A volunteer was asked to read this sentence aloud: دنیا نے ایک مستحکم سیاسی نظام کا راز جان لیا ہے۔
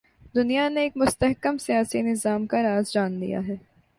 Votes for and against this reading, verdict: 2, 0, accepted